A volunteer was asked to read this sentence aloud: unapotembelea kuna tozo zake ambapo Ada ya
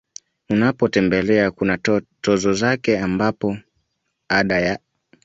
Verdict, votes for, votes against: accepted, 2, 0